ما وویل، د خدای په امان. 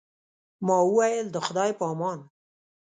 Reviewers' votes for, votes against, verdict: 2, 0, accepted